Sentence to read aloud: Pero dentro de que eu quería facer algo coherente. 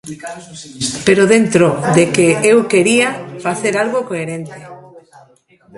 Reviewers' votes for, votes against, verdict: 0, 2, rejected